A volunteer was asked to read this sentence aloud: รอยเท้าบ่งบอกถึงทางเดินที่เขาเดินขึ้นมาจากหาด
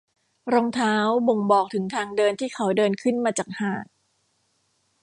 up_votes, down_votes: 1, 2